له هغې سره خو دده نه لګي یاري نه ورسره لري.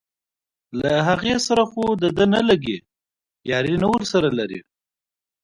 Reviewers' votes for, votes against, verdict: 1, 2, rejected